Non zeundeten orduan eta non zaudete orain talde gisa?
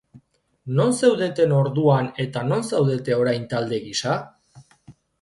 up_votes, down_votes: 1, 2